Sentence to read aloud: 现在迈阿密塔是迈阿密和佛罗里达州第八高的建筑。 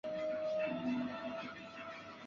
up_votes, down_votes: 0, 4